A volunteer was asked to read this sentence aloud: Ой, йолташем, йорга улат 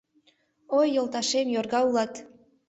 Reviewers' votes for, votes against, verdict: 2, 0, accepted